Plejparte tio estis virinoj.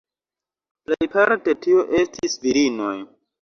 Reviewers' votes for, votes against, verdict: 2, 0, accepted